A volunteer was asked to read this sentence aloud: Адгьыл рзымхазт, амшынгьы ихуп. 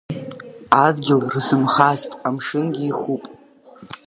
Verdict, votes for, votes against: rejected, 0, 2